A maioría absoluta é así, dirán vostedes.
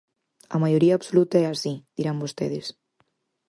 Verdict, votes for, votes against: accepted, 4, 0